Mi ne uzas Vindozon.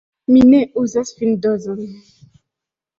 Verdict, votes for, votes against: rejected, 1, 2